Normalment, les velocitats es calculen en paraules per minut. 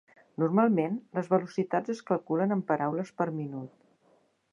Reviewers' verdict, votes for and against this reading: accepted, 4, 0